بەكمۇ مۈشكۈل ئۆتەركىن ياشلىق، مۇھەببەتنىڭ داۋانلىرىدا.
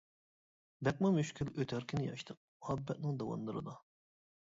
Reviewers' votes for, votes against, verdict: 1, 2, rejected